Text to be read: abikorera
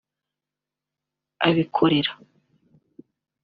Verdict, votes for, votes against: rejected, 1, 2